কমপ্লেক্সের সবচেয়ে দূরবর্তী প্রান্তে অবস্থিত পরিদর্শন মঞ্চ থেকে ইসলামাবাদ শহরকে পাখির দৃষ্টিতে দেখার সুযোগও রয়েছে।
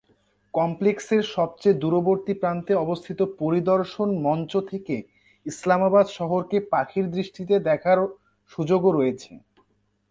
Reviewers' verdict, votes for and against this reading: rejected, 2, 2